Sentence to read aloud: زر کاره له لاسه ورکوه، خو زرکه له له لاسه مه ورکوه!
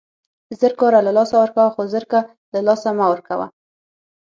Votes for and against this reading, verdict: 6, 0, accepted